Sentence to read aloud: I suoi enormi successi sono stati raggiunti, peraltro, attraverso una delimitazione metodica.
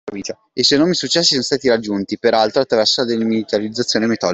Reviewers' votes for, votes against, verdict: 1, 2, rejected